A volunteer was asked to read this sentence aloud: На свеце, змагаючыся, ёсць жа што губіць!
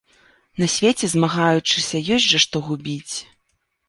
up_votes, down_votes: 2, 0